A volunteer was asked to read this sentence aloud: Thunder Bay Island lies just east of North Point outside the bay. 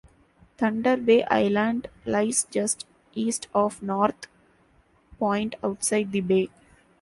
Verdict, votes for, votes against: accepted, 2, 0